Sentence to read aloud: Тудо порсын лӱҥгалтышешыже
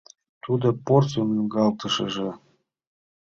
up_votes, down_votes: 0, 2